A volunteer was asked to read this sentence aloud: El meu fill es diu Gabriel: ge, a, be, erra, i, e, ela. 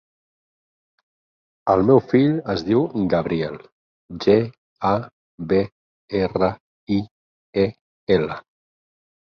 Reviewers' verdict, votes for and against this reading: accepted, 12, 0